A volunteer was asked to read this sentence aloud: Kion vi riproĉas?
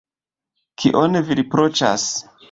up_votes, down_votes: 2, 0